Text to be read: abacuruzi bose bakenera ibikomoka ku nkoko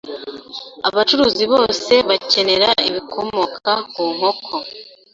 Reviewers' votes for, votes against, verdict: 2, 0, accepted